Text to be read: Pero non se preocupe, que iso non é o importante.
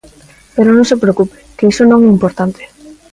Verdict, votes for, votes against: accepted, 2, 0